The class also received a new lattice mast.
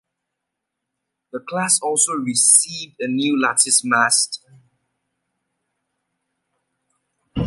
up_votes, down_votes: 2, 0